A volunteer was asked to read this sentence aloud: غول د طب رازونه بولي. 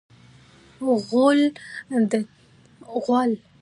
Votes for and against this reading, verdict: 1, 2, rejected